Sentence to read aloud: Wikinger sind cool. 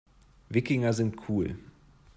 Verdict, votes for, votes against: accepted, 2, 0